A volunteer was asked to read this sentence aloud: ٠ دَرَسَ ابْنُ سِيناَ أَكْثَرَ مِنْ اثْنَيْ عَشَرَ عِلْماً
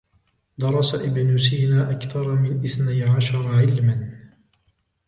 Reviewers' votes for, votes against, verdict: 0, 2, rejected